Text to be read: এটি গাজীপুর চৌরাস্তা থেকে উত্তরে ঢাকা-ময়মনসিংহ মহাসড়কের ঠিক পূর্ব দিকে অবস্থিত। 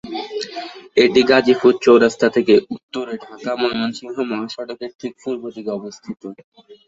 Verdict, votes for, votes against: accepted, 2, 0